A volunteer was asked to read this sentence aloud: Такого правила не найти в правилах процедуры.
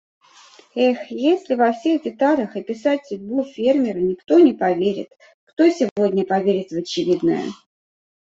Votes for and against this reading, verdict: 0, 2, rejected